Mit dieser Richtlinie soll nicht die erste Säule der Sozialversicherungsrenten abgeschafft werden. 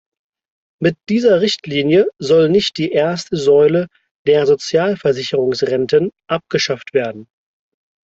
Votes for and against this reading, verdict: 4, 0, accepted